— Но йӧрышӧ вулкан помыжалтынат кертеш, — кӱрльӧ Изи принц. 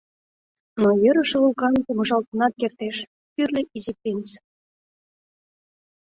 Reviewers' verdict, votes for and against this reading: accepted, 2, 0